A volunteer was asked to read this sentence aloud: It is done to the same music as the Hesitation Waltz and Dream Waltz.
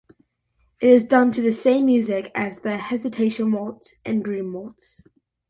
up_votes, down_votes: 2, 0